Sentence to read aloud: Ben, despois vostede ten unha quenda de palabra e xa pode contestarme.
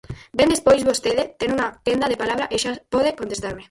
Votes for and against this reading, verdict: 0, 4, rejected